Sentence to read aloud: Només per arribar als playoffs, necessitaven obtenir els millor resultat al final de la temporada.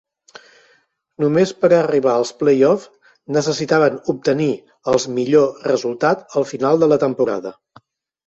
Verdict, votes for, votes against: accepted, 2, 0